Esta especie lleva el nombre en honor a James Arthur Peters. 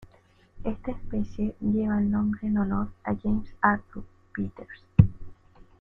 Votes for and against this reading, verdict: 0, 2, rejected